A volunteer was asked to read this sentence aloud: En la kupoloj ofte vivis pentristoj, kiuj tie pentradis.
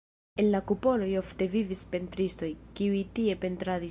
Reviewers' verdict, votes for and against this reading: rejected, 0, 2